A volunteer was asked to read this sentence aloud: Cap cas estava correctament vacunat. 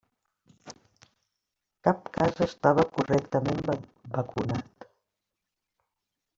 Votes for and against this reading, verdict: 0, 2, rejected